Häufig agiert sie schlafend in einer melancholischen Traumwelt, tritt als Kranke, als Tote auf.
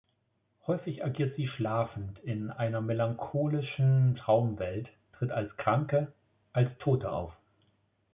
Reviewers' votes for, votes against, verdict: 1, 2, rejected